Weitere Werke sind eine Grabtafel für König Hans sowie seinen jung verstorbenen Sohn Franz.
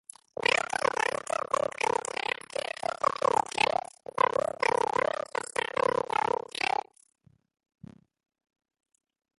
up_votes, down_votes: 0, 2